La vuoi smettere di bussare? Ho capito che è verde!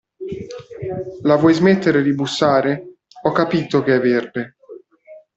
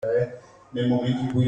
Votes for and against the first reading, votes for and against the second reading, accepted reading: 2, 0, 0, 2, first